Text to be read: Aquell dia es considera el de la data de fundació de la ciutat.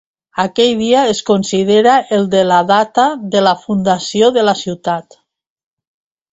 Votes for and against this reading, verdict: 0, 2, rejected